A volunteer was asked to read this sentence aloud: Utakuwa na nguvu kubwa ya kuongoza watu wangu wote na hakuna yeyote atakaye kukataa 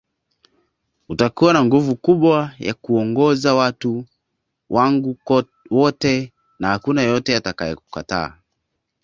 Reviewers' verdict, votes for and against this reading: rejected, 1, 2